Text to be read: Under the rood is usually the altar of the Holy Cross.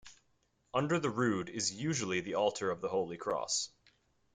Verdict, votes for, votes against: accepted, 2, 0